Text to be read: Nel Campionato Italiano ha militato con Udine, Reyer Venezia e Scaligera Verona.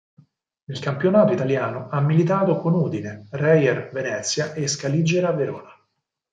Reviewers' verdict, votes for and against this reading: accepted, 4, 0